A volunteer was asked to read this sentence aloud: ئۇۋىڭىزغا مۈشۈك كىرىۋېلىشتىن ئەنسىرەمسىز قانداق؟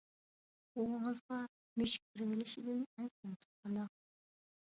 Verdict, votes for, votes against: rejected, 1, 2